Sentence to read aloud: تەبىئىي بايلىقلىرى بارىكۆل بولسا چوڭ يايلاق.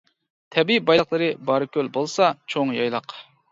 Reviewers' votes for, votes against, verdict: 2, 0, accepted